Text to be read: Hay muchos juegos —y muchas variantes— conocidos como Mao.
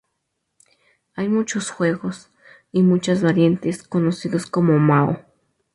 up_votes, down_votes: 2, 0